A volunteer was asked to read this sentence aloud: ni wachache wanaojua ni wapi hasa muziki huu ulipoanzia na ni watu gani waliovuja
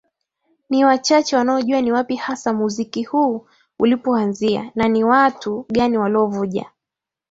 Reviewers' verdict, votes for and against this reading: accepted, 2, 0